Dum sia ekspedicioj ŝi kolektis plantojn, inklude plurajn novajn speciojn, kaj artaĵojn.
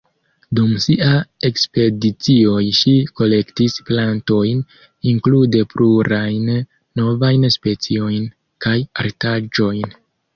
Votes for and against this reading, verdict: 1, 2, rejected